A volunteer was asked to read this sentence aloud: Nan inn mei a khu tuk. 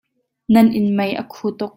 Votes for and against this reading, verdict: 2, 0, accepted